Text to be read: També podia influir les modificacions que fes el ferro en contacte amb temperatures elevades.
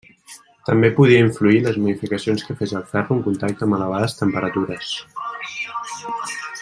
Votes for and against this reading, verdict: 0, 2, rejected